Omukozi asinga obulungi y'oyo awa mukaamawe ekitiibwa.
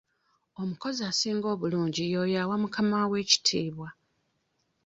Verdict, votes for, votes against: accepted, 2, 0